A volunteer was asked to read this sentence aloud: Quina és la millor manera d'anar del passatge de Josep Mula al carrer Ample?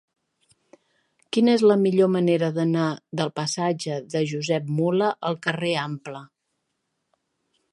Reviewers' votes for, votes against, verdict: 3, 1, accepted